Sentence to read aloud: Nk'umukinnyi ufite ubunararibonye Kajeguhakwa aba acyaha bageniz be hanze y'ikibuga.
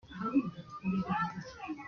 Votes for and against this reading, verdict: 0, 2, rejected